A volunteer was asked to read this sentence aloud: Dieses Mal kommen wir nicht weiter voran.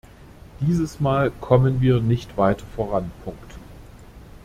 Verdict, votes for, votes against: rejected, 0, 2